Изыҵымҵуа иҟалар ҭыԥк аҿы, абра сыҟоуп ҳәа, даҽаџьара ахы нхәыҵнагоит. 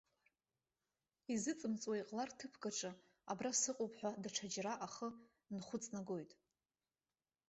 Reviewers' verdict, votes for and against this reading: accepted, 3, 0